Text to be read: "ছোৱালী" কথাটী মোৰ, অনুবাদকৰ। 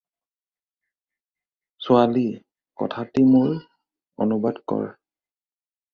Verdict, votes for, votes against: rejected, 0, 2